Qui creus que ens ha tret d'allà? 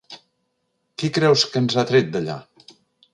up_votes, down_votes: 2, 0